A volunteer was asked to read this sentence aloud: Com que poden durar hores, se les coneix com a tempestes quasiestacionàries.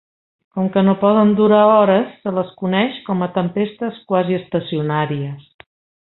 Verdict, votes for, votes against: rejected, 0, 2